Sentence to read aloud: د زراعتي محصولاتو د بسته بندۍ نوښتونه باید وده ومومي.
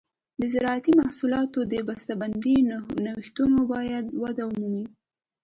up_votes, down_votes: 2, 0